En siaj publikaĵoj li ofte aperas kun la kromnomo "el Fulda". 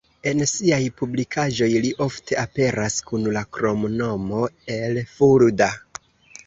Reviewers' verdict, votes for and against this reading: accepted, 2, 0